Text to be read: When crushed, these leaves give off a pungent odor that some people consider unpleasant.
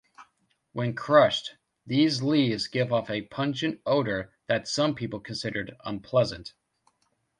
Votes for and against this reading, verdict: 0, 2, rejected